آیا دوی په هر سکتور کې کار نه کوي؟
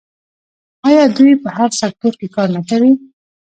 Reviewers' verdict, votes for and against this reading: rejected, 1, 2